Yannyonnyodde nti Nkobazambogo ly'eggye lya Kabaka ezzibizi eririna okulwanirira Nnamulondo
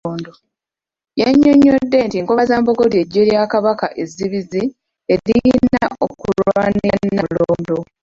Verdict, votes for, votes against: rejected, 0, 2